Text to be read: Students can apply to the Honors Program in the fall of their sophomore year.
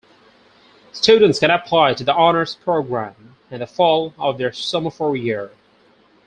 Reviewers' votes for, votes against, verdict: 2, 4, rejected